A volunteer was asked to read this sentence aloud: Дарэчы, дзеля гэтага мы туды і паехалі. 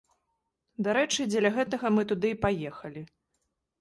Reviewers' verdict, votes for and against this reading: accepted, 2, 0